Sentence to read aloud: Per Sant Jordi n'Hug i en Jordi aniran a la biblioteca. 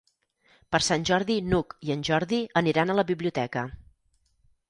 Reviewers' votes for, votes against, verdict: 4, 0, accepted